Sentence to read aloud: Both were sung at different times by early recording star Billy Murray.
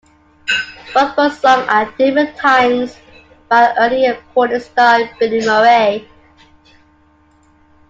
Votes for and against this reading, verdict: 2, 0, accepted